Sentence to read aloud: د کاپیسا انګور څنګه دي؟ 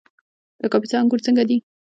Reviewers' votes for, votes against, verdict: 2, 1, accepted